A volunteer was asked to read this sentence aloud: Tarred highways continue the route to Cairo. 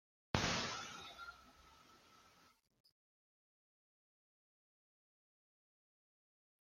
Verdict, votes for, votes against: rejected, 0, 2